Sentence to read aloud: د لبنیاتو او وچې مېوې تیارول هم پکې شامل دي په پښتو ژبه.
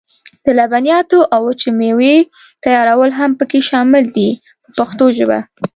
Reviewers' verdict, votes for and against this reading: accepted, 2, 0